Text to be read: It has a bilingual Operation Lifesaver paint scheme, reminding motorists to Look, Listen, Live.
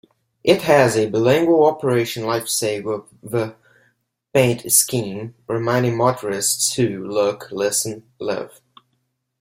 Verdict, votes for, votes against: rejected, 1, 2